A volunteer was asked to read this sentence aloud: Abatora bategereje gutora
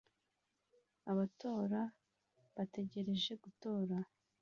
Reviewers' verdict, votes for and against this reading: accepted, 2, 1